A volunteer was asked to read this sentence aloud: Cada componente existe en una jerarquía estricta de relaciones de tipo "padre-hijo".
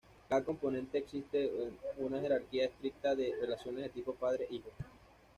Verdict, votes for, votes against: accepted, 2, 0